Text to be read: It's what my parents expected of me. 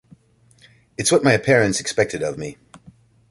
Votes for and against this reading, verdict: 2, 1, accepted